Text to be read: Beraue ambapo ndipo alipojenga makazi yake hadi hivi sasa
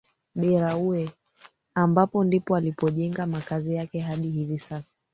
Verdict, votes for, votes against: accepted, 2, 1